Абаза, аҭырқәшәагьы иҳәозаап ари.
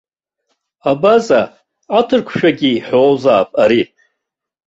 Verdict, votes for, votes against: accepted, 2, 0